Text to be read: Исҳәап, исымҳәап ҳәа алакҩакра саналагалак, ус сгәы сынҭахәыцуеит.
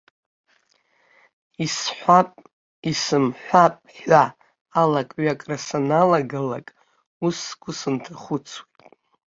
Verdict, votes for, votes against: rejected, 0, 3